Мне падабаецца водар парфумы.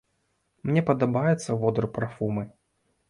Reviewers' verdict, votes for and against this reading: accepted, 2, 0